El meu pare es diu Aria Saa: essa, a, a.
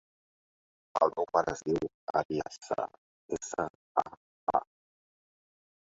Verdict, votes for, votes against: accepted, 2, 1